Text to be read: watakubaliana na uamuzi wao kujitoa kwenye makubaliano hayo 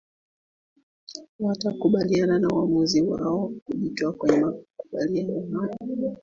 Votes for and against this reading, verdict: 1, 2, rejected